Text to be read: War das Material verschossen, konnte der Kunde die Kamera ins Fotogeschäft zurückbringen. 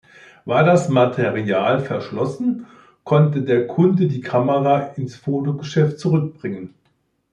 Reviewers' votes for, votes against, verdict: 0, 2, rejected